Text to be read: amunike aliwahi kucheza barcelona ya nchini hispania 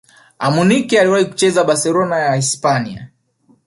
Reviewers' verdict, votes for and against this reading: rejected, 1, 2